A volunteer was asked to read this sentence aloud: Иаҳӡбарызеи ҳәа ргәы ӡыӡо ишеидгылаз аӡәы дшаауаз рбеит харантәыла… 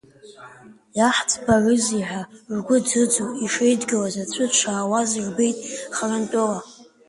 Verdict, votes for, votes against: accepted, 2, 0